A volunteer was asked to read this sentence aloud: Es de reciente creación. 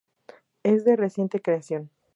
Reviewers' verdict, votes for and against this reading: rejected, 2, 2